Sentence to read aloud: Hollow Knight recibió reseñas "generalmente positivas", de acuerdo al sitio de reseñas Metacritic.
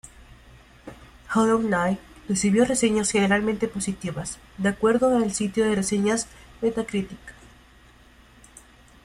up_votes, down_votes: 2, 0